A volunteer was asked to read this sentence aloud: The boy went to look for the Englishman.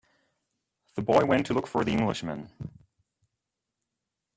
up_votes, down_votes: 2, 0